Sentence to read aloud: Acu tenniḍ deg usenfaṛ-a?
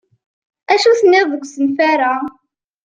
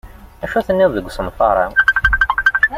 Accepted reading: first